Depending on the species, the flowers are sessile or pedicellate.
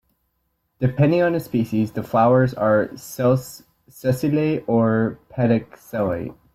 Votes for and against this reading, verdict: 2, 0, accepted